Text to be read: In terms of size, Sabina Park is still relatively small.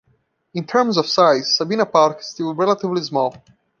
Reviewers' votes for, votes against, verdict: 2, 0, accepted